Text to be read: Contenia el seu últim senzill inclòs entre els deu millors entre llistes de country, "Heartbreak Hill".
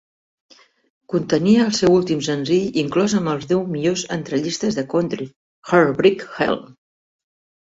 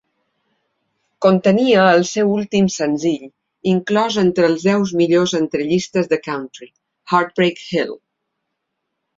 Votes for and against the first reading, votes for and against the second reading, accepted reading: 1, 2, 2, 0, second